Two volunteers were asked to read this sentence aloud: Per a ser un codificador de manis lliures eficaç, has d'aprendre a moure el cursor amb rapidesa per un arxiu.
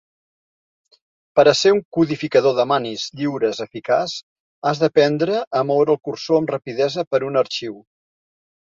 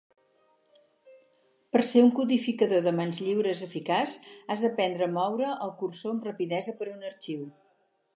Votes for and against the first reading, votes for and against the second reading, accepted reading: 0, 2, 4, 2, second